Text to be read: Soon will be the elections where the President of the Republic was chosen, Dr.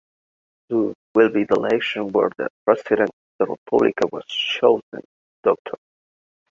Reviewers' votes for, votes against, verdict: 0, 2, rejected